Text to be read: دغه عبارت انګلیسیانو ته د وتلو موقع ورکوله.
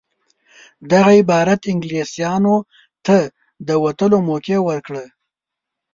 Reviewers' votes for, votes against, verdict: 1, 2, rejected